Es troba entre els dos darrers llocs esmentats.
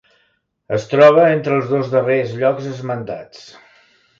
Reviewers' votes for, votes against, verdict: 2, 0, accepted